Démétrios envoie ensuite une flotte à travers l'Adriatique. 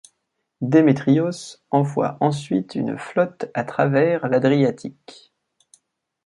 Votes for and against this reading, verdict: 2, 1, accepted